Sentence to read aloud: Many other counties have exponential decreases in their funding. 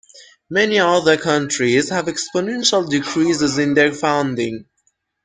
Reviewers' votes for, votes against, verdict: 0, 2, rejected